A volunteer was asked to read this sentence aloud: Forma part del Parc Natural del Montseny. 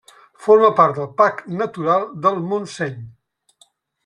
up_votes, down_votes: 1, 2